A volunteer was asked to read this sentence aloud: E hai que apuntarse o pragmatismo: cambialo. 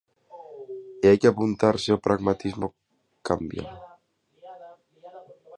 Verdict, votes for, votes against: rejected, 0, 2